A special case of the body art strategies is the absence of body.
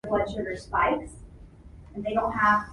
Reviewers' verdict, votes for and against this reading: rejected, 0, 2